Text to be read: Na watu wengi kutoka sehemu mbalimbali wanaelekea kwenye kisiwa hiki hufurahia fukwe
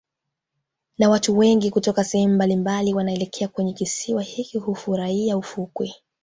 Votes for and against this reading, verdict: 2, 1, accepted